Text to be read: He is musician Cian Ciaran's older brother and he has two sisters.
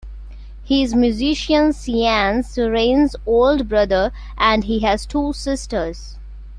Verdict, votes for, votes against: rejected, 1, 2